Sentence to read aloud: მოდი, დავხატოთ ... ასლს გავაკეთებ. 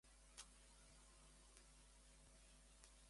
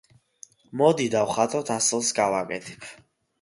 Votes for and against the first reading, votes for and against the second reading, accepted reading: 0, 2, 2, 0, second